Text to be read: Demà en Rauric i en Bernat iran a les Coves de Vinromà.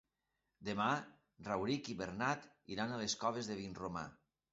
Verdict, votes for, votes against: rejected, 0, 2